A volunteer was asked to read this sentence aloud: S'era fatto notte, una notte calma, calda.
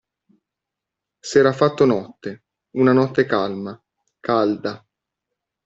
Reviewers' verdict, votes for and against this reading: accepted, 2, 0